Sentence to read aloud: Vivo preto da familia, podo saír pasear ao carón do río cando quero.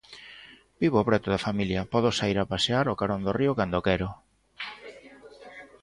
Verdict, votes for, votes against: rejected, 1, 2